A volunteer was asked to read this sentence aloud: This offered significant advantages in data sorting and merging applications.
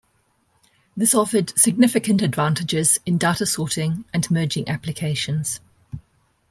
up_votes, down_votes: 2, 1